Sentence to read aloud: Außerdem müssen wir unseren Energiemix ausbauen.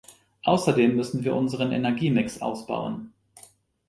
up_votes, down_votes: 2, 0